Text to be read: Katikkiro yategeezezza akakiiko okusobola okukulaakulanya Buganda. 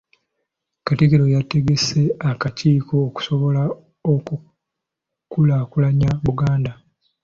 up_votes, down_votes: 1, 2